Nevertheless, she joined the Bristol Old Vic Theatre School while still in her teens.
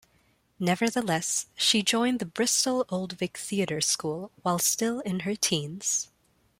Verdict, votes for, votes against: accepted, 2, 0